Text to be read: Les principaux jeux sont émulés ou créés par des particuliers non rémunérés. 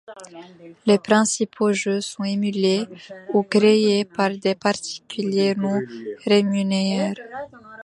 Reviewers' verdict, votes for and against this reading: rejected, 1, 2